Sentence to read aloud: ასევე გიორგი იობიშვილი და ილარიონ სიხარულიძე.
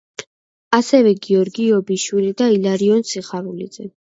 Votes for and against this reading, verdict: 2, 0, accepted